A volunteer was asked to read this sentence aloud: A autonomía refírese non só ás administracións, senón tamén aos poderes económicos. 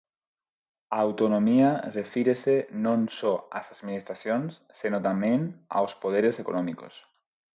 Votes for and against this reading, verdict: 2, 4, rejected